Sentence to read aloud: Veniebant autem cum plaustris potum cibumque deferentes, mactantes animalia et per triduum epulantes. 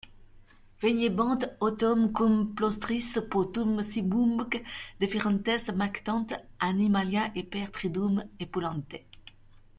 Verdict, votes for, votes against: rejected, 1, 2